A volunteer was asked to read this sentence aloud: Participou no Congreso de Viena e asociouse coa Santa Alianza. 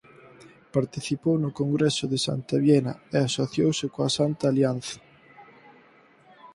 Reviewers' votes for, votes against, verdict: 0, 4, rejected